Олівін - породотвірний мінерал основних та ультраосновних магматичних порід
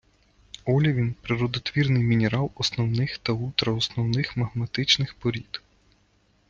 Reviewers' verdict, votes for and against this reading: rejected, 1, 2